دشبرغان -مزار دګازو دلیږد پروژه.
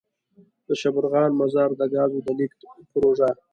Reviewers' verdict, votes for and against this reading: accepted, 2, 0